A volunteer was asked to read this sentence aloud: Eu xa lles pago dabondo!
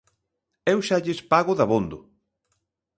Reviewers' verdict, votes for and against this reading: accepted, 2, 0